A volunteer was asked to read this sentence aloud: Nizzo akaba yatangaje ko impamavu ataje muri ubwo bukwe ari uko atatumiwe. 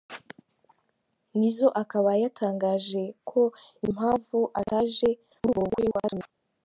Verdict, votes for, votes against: rejected, 1, 2